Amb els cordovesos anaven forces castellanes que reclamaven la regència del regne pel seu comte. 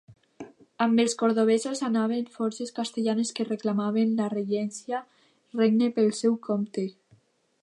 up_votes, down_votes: 1, 2